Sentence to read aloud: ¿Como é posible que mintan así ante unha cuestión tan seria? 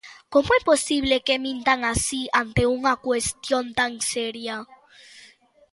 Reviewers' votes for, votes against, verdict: 2, 0, accepted